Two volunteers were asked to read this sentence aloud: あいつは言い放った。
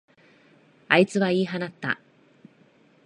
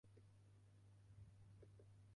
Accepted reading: first